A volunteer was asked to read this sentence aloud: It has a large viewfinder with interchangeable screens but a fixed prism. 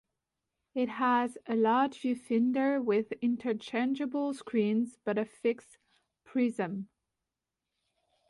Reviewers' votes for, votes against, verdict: 1, 2, rejected